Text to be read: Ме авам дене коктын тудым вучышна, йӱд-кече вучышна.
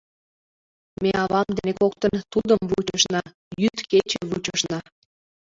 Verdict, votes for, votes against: rejected, 1, 2